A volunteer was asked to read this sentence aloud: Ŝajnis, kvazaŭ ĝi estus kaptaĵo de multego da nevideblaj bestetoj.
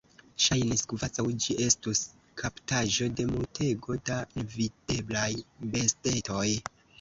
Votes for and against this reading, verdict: 0, 2, rejected